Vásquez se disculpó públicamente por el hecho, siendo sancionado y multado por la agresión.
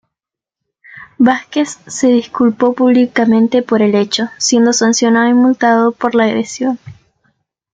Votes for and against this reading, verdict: 1, 2, rejected